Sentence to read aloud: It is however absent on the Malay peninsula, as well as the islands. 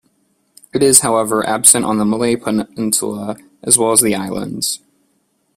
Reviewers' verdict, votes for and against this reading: accepted, 2, 1